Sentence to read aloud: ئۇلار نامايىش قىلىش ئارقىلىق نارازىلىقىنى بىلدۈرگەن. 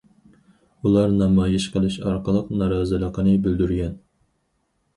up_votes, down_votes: 4, 0